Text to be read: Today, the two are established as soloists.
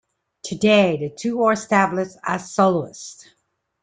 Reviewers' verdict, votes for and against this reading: rejected, 0, 2